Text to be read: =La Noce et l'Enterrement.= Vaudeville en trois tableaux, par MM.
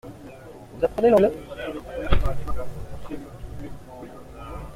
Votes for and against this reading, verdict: 0, 2, rejected